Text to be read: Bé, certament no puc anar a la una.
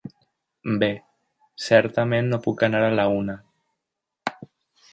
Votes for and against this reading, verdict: 3, 0, accepted